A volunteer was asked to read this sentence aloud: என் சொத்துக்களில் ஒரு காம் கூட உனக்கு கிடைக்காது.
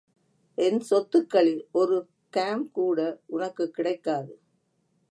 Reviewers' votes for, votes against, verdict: 2, 0, accepted